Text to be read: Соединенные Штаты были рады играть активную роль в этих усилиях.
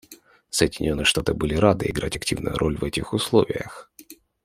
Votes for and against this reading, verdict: 1, 2, rejected